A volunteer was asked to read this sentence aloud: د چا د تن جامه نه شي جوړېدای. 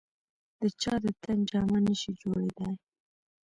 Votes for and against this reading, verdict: 1, 2, rejected